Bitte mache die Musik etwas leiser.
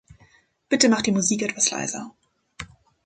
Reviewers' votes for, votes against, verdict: 1, 2, rejected